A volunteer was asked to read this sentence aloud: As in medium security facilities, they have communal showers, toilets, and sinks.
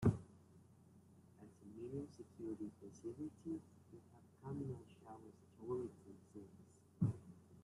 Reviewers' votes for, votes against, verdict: 0, 2, rejected